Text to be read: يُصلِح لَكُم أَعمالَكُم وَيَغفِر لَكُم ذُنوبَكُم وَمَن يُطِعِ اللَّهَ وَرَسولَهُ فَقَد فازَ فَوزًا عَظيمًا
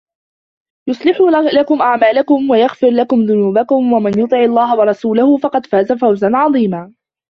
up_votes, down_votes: 0, 2